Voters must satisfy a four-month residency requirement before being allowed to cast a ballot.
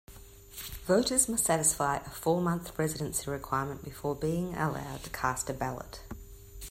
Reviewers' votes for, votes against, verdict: 2, 0, accepted